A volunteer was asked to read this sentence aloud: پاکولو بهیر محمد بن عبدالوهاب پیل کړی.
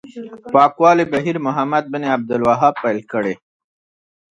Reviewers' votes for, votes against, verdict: 2, 1, accepted